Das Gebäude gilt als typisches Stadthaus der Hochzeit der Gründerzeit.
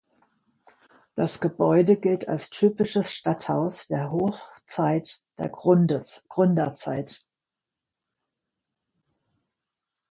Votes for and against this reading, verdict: 0, 3, rejected